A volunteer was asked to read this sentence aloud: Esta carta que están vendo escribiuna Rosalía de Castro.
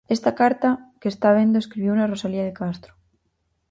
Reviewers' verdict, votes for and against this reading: rejected, 0, 4